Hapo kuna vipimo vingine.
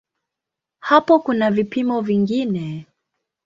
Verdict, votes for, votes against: accepted, 2, 0